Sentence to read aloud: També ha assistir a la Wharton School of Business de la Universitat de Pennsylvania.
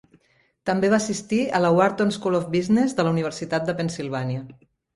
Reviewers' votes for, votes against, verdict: 1, 2, rejected